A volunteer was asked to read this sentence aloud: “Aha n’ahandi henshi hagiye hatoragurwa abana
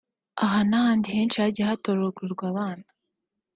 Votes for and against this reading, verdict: 1, 2, rejected